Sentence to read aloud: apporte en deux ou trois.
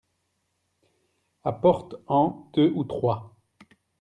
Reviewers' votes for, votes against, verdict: 0, 2, rejected